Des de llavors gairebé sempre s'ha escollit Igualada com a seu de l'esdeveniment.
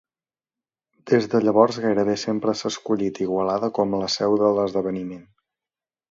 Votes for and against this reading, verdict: 0, 2, rejected